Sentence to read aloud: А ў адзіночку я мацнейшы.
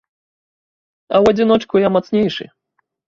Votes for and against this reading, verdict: 2, 0, accepted